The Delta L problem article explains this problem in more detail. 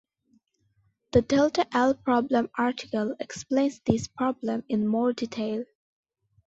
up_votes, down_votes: 2, 0